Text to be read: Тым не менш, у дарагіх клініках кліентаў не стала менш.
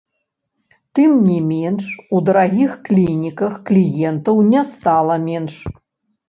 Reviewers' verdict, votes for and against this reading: rejected, 1, 2